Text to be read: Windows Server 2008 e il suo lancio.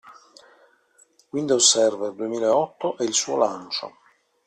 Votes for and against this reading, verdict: 0, 2, rejected